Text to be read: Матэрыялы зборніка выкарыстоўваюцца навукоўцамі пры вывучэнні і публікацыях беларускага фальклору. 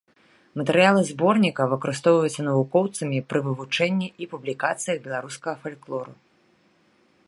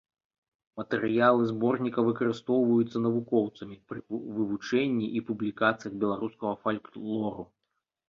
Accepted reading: first